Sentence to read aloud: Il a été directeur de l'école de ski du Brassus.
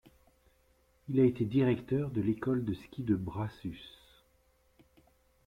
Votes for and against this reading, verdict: 2, 1, accepted